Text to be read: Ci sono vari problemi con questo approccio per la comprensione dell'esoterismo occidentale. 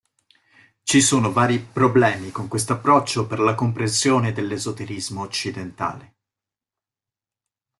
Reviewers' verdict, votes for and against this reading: accepted, 3, 0